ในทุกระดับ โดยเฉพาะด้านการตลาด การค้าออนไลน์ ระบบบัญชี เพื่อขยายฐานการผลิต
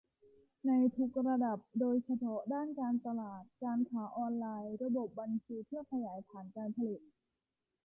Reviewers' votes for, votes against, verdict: 2, 0, accepted